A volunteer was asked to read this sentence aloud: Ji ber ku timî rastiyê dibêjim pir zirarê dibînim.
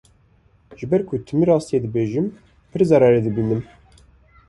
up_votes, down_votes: 2, 0